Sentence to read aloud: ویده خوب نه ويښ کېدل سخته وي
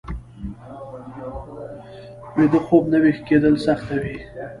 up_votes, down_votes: 0, 2